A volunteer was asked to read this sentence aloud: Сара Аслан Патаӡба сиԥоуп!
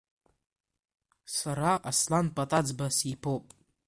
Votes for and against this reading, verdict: 2, 0, accepted